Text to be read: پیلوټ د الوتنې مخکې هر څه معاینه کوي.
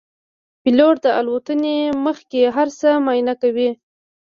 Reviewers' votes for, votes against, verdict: 1, 2, rejected